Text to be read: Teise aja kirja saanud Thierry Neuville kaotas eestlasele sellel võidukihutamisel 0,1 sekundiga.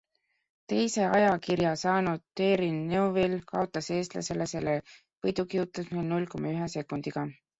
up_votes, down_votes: 0, 2